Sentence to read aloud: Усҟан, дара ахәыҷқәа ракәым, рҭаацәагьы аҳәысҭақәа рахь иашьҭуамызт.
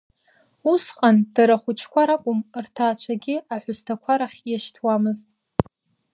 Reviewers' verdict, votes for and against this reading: rejected, 1, 2